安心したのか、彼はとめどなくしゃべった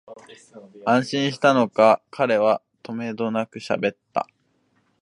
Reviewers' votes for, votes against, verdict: 3, 0, accepted